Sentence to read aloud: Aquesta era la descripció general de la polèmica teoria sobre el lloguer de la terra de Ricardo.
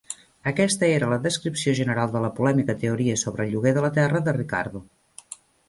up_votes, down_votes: 2, 0